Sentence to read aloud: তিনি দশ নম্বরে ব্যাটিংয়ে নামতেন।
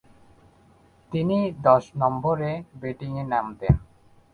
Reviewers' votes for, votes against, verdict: 2, 3, rejected